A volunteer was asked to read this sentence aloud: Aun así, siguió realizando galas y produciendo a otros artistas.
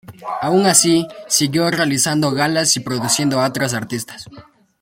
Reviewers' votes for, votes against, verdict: 2, 0, accepted